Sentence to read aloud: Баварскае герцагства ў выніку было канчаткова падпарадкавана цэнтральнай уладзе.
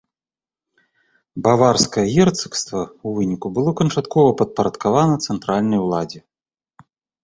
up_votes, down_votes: 2, 0